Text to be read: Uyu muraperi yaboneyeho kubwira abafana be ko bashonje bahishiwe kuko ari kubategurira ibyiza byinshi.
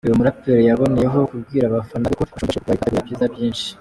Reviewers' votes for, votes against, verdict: 0, 2, rejected